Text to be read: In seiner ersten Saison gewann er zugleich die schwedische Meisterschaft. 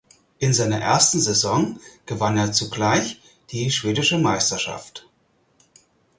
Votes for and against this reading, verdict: 4, 0, accepted